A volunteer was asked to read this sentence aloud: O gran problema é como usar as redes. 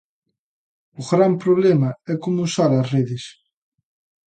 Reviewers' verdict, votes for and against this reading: accepted, 2, 0